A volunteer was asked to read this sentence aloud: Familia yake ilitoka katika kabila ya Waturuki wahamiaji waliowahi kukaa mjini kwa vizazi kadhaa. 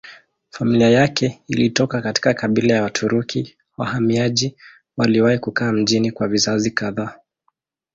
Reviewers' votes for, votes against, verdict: 2, 0, accepted